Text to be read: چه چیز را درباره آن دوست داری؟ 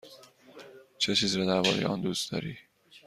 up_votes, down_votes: 2, 0